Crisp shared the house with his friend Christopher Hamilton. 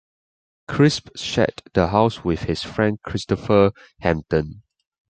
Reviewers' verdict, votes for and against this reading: accepted, 2, 0